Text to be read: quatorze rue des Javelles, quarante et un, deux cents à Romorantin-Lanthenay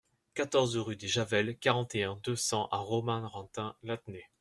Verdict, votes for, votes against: rejected, 0, 2